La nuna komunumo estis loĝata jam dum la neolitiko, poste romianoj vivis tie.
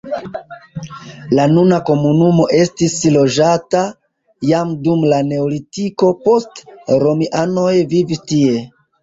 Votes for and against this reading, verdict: 2, 0, accepted